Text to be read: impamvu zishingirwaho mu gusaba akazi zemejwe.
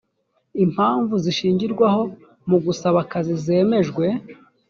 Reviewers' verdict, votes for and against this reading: accepted, 4, 0